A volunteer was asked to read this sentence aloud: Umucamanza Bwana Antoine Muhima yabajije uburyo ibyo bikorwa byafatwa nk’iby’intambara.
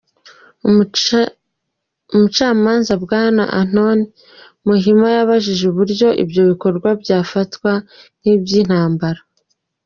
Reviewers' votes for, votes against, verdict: 1, 2, rejected